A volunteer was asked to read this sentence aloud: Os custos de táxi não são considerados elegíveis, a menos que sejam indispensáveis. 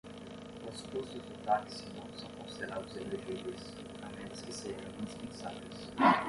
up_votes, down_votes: 0, 5